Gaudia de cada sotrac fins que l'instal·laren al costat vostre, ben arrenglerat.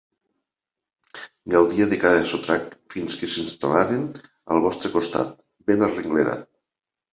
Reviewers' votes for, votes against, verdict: 0, 2, rejected